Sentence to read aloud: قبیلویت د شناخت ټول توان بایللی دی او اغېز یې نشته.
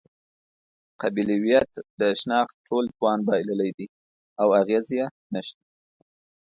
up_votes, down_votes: 2, 0